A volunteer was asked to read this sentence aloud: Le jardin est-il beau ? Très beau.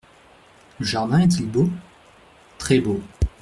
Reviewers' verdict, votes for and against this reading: accepted, 2, 0